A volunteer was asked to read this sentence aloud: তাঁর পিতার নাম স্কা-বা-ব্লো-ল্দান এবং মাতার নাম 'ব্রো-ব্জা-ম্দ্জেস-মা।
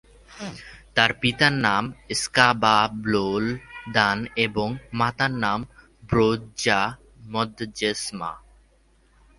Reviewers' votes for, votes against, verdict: 7, 5, accepted